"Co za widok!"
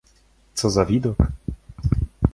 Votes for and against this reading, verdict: 2, 0, accepted